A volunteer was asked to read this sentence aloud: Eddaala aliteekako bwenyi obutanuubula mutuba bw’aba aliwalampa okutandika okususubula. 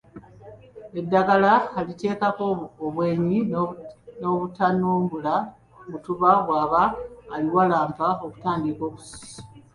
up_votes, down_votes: 0, 2